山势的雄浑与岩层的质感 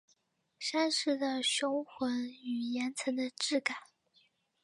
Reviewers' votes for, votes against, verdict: 2, 0, accepted